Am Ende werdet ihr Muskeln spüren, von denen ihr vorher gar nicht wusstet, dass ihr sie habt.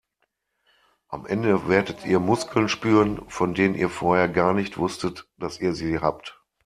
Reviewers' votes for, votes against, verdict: 2, 0, accepted